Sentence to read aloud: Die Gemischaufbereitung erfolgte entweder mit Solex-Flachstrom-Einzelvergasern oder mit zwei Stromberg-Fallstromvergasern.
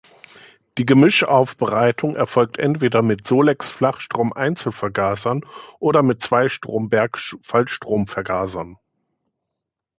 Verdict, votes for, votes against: accepted, 2, 0